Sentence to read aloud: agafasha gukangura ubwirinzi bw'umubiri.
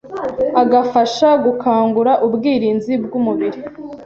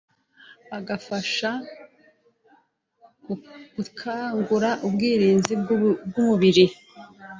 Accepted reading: first